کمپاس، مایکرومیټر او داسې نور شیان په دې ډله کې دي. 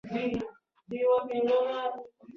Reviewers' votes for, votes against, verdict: 0, 2, rejected